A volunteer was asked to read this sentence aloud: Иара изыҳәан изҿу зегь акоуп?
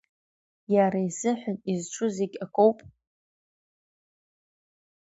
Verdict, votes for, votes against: accepted, 2, 0